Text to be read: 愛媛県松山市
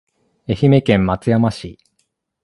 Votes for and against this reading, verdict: 2, 0, accepted